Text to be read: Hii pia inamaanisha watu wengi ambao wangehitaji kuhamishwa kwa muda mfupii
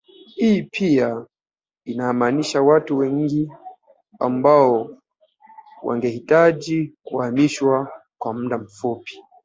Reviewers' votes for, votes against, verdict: 0, 2, rejected